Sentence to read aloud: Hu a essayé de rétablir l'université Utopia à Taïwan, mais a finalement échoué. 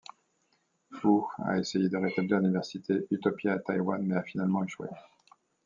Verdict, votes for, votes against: accepted, 2, 0